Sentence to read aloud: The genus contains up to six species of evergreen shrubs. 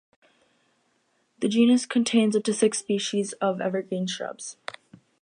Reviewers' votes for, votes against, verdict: 0, 2, rejected